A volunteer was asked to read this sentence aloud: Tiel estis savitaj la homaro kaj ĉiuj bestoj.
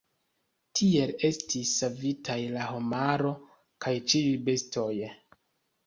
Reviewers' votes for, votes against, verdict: 1, 2, rejected